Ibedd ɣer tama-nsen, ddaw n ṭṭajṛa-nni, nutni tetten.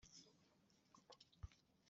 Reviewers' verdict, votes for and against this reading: rejected, 1, 2